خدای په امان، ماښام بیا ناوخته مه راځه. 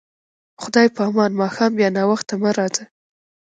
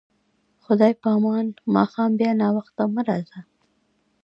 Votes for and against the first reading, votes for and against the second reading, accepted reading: 1, 2, 2, 1, second